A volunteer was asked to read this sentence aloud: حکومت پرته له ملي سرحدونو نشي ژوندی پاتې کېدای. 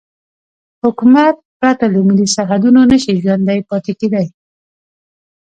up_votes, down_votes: 0, 2